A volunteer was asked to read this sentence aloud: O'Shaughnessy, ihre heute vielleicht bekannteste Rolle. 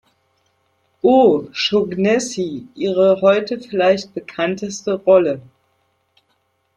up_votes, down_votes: 0, 2